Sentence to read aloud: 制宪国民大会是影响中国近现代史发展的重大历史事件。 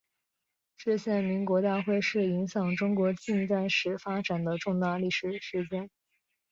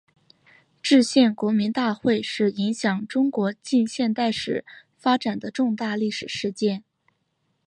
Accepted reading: second